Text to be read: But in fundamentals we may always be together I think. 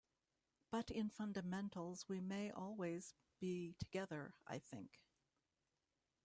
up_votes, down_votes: 2, 0